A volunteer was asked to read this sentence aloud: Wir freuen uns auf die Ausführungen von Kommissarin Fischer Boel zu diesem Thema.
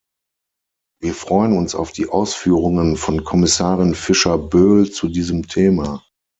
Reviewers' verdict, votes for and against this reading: accepted, 6, 0